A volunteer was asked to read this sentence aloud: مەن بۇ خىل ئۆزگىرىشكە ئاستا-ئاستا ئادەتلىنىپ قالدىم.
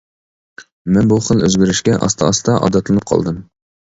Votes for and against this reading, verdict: 2, 0, accepted